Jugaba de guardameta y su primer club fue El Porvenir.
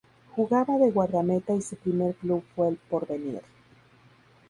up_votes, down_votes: 4, 0